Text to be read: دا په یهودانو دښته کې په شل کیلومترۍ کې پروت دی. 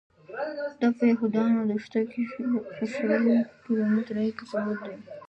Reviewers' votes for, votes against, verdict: 0, 2, rejected